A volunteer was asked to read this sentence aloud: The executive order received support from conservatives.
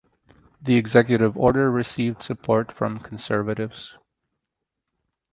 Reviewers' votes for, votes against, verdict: 2, 2, rejected